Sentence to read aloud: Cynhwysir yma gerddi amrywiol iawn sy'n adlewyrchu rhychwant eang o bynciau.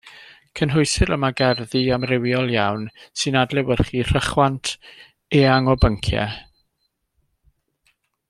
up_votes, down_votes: 1, 2